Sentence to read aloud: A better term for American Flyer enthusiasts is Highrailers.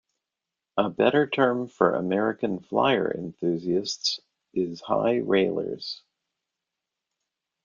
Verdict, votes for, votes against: accepted, 2, 0